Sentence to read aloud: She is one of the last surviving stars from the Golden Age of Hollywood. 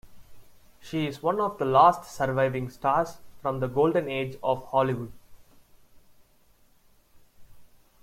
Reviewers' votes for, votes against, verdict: 2, 1, accepted